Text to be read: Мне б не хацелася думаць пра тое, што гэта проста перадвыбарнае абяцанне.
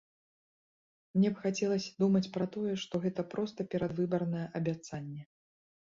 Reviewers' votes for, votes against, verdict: 1, 2, rejected